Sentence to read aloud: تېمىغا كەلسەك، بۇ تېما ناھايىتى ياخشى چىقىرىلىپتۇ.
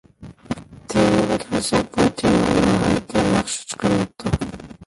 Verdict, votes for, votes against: rejected, 0, 2